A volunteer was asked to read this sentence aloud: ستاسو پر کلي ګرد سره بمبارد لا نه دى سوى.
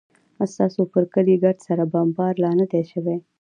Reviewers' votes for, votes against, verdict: 2, 0, accepted